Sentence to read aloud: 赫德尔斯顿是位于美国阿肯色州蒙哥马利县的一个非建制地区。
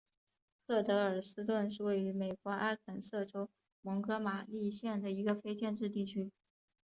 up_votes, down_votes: 1, 2